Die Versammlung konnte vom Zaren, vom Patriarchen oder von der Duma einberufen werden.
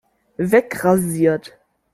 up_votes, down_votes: 0, 2